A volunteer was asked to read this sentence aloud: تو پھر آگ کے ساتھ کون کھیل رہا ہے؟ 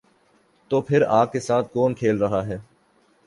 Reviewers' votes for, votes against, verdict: 2, 0, accepted